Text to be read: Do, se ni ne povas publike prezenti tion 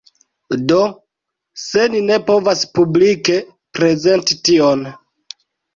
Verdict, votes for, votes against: accepted, 3, 0